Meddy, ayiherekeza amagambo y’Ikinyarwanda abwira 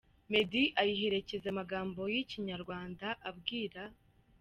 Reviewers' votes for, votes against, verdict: 2, 1, accepted